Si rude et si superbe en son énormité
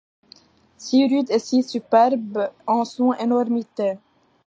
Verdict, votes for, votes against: accepted, 2, 1